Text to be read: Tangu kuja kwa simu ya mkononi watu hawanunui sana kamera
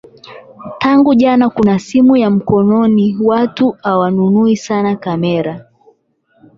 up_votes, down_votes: 8, 0